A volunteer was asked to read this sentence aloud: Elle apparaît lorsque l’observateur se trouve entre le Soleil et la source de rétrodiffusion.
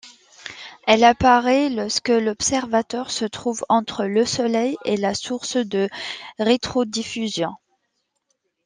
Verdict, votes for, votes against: accepted, 2, 1